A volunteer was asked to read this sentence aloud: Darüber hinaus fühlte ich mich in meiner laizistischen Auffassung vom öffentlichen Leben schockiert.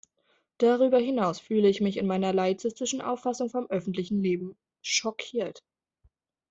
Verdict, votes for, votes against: rejected, 0, 2